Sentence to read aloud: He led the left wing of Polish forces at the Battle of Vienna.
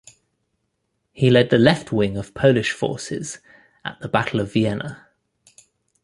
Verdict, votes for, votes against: accepted, 2, 0